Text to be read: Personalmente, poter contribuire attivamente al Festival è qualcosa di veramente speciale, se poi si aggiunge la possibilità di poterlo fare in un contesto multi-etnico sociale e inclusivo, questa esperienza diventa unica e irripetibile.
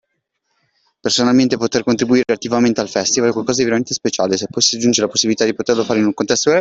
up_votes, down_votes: 0, 2